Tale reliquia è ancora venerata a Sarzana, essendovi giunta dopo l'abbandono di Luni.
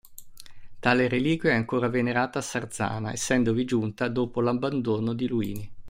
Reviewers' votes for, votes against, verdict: 1, 2, rejected